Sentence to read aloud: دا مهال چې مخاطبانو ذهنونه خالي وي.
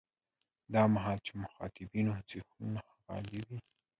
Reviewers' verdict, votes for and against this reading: accepted, 2, 1